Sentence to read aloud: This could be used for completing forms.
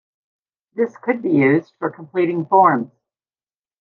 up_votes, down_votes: 2, 0